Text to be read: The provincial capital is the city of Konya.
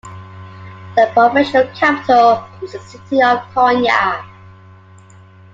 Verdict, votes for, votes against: accepted, 2, 0